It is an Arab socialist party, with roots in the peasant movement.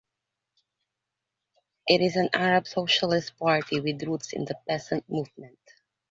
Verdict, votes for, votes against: accepted, 2, 0